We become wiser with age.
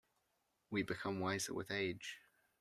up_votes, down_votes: 2, 0